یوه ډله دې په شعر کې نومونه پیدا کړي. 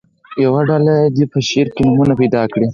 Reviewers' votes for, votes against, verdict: 4, 2, accepted